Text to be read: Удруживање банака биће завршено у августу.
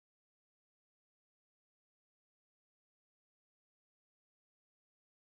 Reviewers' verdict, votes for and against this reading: rejected, 1, 2